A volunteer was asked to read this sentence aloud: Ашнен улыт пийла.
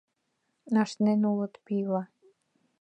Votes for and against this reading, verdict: 2, 0, accepted